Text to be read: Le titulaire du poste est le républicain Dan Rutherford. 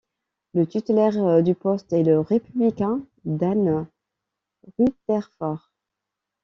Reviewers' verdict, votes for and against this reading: accepted, 2, 1